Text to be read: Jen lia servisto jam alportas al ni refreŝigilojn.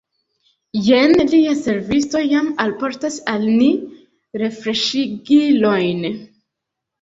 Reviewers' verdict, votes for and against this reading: rejected, 1, 2